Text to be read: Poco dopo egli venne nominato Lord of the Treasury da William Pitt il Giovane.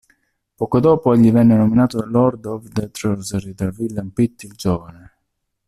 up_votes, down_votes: 0, 2